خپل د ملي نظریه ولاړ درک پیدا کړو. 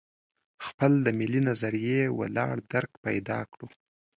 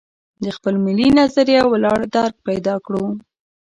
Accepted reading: first